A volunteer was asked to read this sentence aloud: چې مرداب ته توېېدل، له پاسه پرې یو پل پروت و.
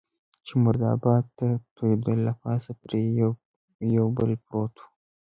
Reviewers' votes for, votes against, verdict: 2, 0, accepted